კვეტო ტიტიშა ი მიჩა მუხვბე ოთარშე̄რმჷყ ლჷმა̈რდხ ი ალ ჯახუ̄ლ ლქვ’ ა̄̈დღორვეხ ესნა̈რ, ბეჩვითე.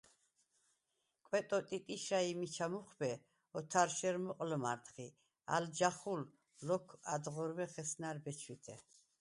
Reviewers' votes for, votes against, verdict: 0, 4, rejected